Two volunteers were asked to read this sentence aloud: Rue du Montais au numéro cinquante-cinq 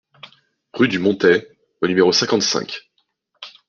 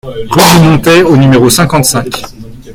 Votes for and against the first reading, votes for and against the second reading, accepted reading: 2, 0, 1, 2, first